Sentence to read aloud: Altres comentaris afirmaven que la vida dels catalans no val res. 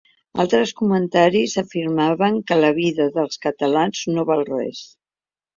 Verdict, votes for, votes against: accepted, 2, 0